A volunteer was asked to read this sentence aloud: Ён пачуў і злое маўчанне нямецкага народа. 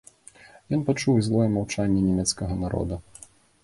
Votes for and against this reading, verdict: 2, 0, accepted